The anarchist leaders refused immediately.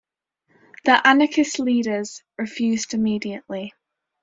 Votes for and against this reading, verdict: 2, 1, accepted